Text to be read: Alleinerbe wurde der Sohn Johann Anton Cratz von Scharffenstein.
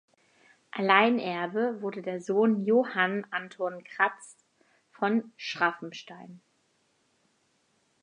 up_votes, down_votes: 0, 4